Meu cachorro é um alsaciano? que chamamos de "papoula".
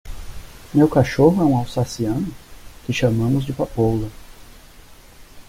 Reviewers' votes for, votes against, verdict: 2, 0, accepted